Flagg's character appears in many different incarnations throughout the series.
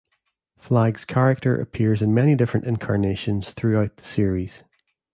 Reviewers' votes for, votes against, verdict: 2, 0, accepted